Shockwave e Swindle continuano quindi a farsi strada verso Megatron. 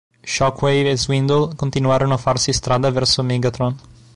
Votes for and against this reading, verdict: 0, 2, rejected